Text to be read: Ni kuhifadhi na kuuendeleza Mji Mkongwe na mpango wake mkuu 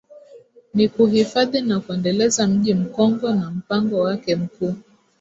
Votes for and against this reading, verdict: 0, 2, rejected